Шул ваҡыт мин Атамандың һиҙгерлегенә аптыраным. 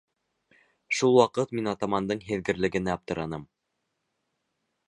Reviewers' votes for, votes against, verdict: 3, 1, accepted